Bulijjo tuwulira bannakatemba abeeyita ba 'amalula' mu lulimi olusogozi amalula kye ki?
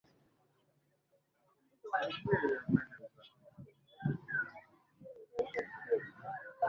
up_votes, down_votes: 0, 2